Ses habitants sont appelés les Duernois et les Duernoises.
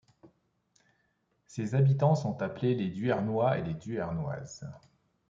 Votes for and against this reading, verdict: 2, 0, accepted